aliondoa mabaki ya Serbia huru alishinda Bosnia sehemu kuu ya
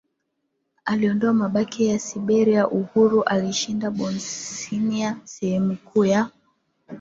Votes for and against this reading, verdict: 0, 2, rejected